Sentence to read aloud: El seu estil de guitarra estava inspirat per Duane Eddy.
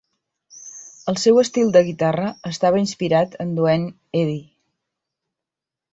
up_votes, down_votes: 0, 2